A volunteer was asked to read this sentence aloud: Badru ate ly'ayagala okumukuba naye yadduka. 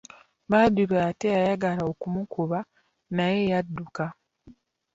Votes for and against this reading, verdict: 0, 2, rejected